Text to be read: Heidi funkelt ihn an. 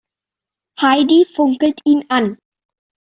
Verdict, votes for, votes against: accepted, 2, 0